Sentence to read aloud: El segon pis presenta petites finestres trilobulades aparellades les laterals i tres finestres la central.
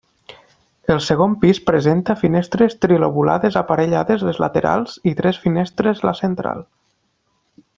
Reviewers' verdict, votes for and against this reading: rejected, 0, 2